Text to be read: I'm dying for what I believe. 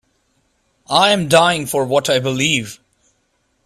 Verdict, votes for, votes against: accepted, 2, 0